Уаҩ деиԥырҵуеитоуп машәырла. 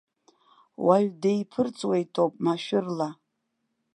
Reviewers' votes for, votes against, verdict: 2, 0, accepted